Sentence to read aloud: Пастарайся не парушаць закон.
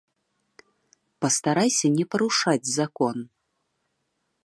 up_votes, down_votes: 2, 0